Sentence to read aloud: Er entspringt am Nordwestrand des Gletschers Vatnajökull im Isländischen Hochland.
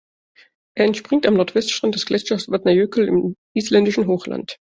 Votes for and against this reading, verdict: 2, 1, accepted